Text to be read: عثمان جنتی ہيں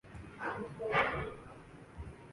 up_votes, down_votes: 4, 8